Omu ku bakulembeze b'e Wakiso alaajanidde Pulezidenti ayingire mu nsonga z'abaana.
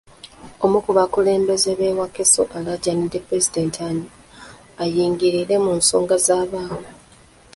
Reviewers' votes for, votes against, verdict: 1, 2, rejected